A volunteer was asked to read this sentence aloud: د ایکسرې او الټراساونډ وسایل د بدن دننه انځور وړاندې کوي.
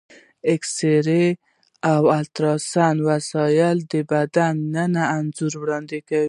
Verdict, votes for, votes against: rejected, 1, 2